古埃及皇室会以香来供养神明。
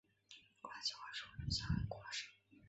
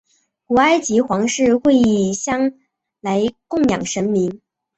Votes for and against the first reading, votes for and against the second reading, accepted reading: 1, 4, 5, 0, second